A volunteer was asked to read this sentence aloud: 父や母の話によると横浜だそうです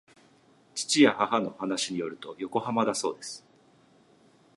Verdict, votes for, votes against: accepted, 2, 0